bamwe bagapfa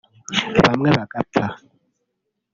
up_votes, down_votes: 1, 2